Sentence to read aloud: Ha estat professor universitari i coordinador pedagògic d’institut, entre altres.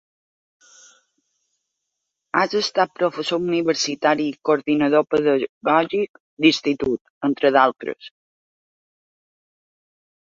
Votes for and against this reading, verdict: 1, 2, rejected